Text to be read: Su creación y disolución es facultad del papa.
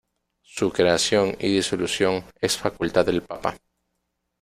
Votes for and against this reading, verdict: 0, 2, rejected